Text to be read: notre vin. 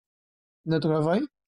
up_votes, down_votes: 0, 2